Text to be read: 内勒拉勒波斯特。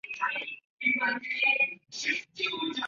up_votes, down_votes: 0, 4